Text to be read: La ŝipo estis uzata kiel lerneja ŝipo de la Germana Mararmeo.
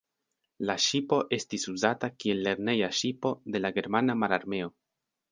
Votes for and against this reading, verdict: 3, 1, accepted